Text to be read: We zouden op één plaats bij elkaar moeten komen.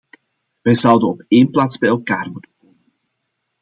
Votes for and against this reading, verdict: 0, 2, rejected